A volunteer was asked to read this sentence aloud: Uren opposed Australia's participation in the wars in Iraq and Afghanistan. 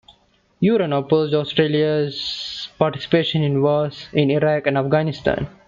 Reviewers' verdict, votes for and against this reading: accepted, 2, 0